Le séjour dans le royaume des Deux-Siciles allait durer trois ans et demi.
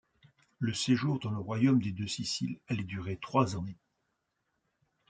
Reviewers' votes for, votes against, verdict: 0, 2, rejected